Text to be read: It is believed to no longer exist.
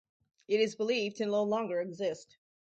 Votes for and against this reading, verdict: 2, 2, rejected